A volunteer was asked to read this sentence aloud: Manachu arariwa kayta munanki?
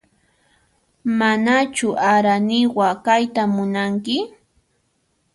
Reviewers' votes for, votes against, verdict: 1, 2, rejected